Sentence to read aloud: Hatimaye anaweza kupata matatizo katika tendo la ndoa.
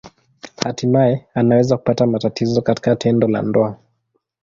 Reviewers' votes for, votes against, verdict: 2, 0, accepted